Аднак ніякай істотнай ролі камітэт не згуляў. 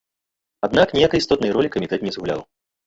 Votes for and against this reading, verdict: 1, 2, rejected